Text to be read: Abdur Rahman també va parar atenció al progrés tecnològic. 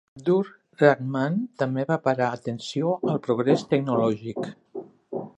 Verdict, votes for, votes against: rejected, 0, 2